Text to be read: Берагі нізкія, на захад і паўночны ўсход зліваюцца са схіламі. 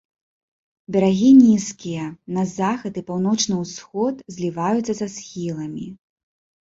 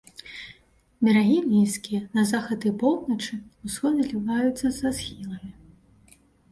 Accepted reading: first